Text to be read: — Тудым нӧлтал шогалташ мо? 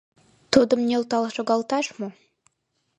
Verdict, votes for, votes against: accepted, 2, 0